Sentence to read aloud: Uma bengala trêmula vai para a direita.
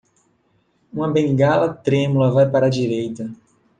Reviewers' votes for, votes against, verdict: 2, 0, accepted